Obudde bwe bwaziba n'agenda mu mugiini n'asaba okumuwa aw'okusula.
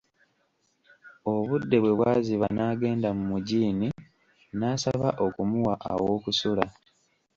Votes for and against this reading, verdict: 1, 2, rejected